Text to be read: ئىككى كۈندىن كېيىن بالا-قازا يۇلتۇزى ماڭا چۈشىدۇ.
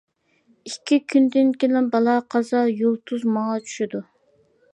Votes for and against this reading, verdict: 1, 2, rejected